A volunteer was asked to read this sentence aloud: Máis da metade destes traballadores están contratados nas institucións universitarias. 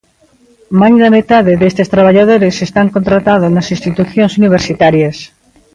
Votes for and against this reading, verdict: 0, 2, rejected